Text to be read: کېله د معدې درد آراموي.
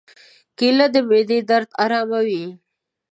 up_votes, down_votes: 2, 0